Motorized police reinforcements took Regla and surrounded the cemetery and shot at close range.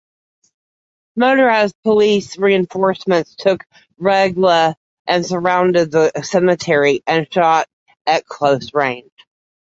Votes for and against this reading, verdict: 2, 0, accepted